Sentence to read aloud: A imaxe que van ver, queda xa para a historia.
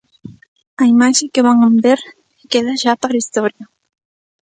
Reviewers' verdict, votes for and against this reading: rejected, 0, 2